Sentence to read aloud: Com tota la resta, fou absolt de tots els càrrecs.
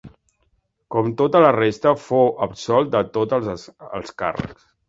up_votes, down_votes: 0, 2